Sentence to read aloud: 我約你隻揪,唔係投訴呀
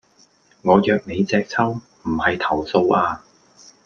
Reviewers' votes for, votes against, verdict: 2, 0, accepted